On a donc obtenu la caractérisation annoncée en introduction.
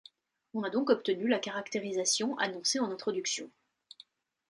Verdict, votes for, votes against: accepted, 2, 0